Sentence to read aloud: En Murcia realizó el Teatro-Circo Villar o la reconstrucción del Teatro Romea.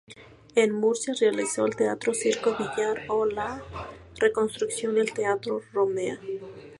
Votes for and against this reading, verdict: 0, 2, rejected